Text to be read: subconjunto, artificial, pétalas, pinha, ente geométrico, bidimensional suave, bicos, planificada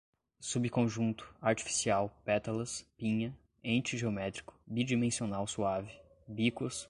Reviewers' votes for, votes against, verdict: 0, 2, rejected